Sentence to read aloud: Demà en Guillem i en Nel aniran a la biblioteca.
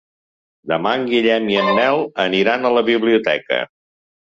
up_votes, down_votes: 3, 0